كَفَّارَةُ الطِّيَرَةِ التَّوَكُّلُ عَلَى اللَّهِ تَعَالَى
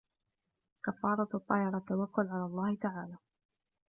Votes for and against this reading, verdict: 1, 2, rejected